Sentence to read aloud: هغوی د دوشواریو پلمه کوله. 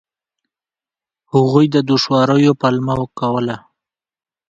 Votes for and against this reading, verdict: 2, 0, accepted